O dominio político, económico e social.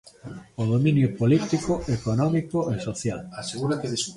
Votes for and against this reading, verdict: 0, 2, rejected